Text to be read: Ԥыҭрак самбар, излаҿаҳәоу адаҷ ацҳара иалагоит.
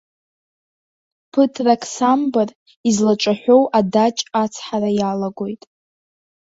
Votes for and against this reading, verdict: 2, 0, accepted